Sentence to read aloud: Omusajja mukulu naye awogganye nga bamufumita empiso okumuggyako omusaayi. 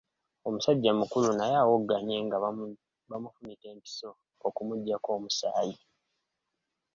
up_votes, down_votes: 2, 1